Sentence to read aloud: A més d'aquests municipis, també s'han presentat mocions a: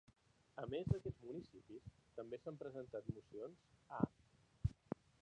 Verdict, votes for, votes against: rejected, 1, 2